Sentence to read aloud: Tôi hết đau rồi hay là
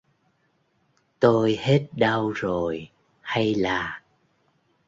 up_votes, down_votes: 2, 0